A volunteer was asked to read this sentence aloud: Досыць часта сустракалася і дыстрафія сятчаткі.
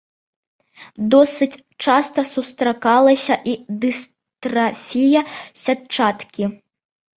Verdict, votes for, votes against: accepted, 2, 1